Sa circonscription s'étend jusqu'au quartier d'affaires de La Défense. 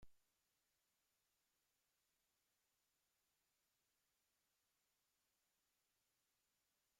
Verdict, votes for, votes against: rejected, 0, 2